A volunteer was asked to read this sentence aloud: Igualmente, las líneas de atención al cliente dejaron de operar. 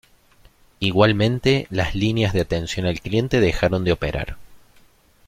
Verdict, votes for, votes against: accepted, 2, 0